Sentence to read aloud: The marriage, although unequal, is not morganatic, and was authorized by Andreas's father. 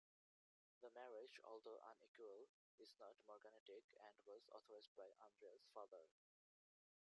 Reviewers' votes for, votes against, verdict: 1, 2, rejected